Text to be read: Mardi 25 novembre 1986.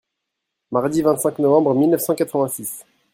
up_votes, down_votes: 0, 2